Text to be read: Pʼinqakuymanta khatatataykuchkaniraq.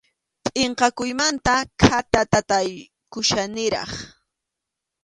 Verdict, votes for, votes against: accepted, 2, 0